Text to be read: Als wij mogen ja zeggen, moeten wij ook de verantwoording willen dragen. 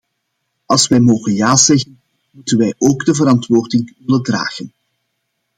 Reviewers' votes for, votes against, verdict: 0, 2, rejected